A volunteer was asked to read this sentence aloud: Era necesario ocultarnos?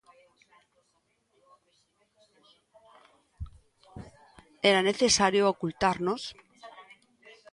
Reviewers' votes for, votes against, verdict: 1, 2, rejected